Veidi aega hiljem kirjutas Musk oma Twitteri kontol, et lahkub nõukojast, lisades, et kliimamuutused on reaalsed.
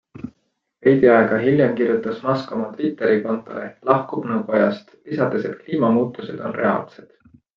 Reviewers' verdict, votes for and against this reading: accepted, 2, 0